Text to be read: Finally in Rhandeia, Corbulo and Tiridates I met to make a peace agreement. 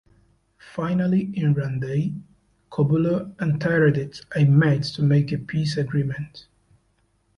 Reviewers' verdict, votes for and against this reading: rejected, 0, 2